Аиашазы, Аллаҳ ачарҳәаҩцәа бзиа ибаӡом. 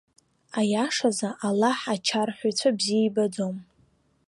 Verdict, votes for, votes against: rejected, 0, 2